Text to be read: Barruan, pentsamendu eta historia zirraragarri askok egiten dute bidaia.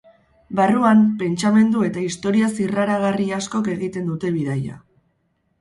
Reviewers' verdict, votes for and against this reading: accepted, 6, 0